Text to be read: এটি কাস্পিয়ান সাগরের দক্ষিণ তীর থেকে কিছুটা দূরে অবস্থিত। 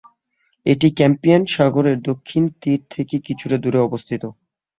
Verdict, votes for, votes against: rejected, 0, 2